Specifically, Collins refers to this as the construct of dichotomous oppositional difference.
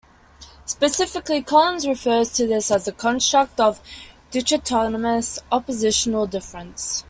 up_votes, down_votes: 2, 1